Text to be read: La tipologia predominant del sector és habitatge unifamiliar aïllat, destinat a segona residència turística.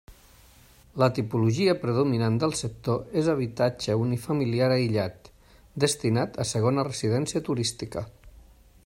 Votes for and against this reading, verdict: 3, 0, accepted